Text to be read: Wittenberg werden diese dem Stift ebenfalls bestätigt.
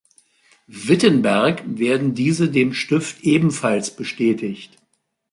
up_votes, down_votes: 2, 0